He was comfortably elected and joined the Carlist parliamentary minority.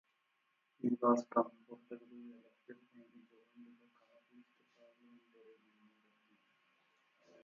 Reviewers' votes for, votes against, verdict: 0, 2, rejected